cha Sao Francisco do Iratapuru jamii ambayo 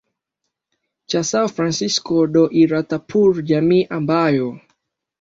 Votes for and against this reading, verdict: 2, 0, accepted